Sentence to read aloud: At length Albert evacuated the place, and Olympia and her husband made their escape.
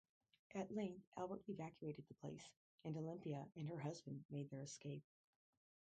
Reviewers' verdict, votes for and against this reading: rejected, 0, 4